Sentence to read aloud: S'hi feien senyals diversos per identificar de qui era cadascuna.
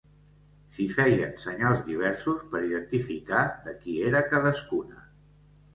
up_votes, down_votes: 2, 0